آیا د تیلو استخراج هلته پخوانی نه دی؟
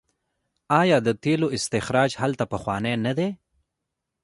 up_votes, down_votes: 0, 2